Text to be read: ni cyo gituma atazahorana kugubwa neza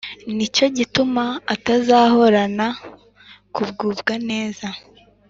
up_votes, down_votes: 2, 0